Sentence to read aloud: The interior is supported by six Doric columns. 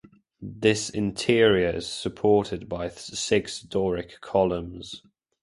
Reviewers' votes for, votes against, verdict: 1, 2, rejected